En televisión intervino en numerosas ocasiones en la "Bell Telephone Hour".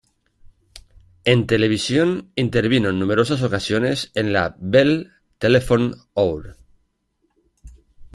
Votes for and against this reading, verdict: 1, 2, rejected